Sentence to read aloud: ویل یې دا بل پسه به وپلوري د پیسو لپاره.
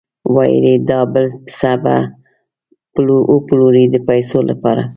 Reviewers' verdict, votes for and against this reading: rejected, 1, 2